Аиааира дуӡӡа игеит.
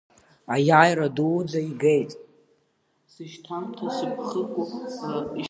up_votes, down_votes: 2, 0